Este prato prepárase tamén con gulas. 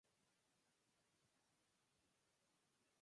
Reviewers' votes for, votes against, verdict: 0, 4, rejected